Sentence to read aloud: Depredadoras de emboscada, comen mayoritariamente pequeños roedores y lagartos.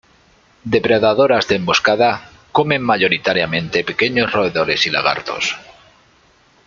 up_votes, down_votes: 2, 0